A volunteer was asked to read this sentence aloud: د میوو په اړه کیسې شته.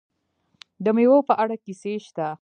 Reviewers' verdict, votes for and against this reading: accepted, 2, 0